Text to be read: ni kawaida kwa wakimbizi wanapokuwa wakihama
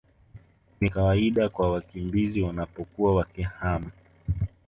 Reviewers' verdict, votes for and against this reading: accepted, 2, 1